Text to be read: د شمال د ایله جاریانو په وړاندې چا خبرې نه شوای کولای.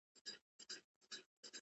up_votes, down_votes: 1, 2